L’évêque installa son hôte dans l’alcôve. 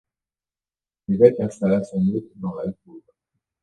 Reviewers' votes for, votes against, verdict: 1, 2, rejected